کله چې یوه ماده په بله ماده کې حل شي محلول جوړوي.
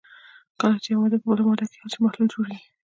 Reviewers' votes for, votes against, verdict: 1, 2, rejected